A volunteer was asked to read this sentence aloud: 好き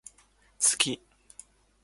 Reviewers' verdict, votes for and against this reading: accepted, 2, 0